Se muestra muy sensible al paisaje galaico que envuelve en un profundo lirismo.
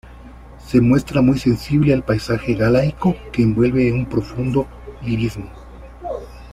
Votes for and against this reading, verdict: 2, 0, accepted